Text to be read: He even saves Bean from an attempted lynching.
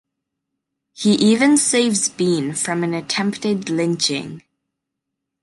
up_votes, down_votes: 1, 2